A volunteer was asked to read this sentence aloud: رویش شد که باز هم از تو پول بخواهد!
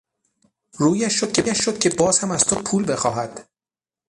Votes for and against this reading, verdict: 3, 6, rejected